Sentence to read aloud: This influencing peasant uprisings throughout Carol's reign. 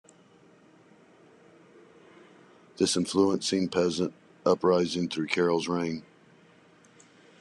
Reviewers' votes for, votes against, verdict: 1, 2, rejected